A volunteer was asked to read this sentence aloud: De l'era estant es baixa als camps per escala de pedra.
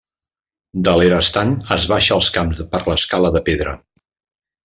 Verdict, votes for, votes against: accepted, 2, 1